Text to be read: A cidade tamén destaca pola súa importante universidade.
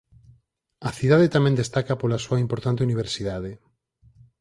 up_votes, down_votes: 4, 0